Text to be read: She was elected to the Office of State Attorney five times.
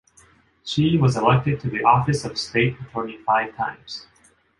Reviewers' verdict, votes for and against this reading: accepted, 2, 0